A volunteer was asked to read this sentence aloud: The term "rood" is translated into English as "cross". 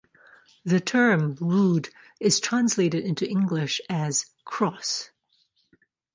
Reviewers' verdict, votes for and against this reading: accepted, 2, 0